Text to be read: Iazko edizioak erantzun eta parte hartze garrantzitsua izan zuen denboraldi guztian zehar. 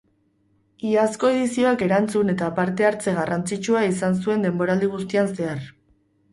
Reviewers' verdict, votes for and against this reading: accepted, 2, 0